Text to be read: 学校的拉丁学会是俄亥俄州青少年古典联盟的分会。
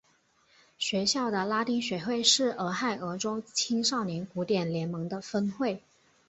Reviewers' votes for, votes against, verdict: 5, 0, accepted